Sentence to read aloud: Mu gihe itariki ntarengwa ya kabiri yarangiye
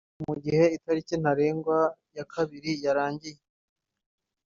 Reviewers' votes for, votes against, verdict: 2, 0, accepted